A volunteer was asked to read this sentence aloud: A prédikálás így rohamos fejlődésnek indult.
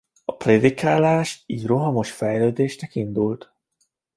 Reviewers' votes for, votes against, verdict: 2, 0, accepted